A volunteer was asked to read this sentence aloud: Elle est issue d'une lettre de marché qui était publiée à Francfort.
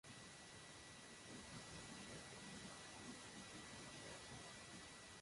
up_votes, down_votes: 0, 2